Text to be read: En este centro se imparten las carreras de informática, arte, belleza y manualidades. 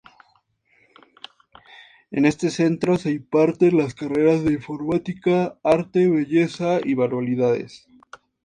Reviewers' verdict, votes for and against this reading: accepted, 4, 0